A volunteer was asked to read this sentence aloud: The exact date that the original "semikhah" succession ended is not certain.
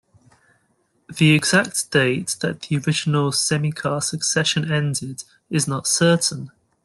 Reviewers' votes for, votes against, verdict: 2, 0, accepted